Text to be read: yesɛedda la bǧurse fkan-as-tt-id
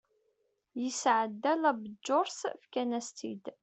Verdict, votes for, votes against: accepted, 2, 0